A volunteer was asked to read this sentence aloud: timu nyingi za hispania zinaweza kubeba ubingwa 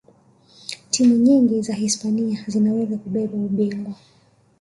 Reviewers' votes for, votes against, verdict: 3, 0, accepted